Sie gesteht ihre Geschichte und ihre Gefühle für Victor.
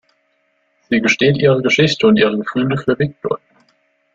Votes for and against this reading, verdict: 1, 2, rejected